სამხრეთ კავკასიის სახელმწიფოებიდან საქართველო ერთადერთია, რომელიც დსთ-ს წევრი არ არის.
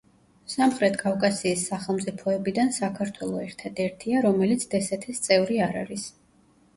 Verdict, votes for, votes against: accepted, 2, 1